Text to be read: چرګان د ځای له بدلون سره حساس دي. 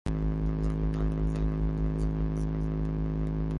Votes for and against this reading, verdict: 0, 2, rejected